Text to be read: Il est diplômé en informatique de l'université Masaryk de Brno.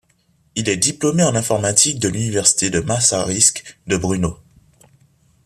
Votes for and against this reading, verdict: 0, 3, rejected